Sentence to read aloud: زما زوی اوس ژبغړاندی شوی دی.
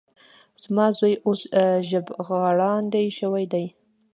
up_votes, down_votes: 2, 0